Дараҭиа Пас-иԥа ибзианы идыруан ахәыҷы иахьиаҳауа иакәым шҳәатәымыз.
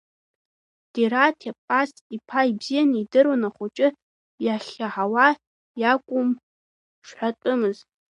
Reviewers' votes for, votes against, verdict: 1, 2, rejected